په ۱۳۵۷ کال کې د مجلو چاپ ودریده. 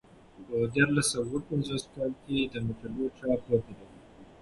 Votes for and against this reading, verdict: 0, 2, rejected